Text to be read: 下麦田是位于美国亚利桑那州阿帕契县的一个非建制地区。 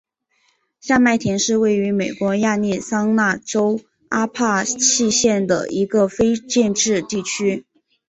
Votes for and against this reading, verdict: 2, 1, accepted